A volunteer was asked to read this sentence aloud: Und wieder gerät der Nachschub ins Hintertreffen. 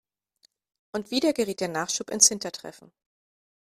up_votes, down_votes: 2, 0